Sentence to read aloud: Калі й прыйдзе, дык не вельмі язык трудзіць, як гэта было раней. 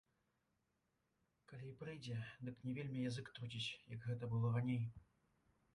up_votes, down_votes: 1, 2